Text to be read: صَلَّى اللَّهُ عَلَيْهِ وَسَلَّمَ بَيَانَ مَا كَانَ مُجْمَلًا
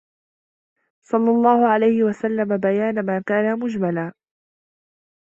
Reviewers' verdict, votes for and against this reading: accepted, 2, 1